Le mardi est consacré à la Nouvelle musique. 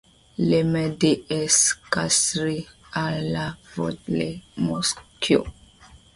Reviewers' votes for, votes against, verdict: 1, 2, rejected